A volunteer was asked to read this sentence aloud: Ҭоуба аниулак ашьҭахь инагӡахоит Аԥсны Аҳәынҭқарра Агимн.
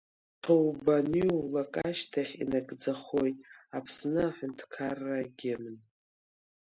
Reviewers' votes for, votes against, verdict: 1, 2, rejected